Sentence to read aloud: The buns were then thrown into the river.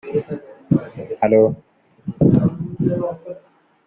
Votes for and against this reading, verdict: 0, 2, rejected